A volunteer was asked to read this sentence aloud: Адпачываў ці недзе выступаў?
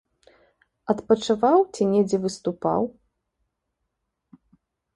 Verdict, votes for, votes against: accepted, 2, 0